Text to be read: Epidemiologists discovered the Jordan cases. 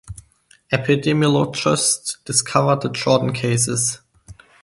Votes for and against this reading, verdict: 2, 0, accepted